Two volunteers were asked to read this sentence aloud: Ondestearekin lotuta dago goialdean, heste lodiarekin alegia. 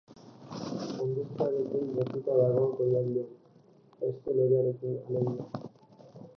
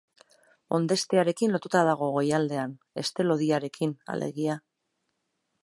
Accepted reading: second